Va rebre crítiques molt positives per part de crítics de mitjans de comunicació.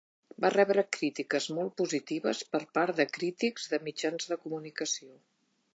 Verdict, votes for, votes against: accepted, 3, 0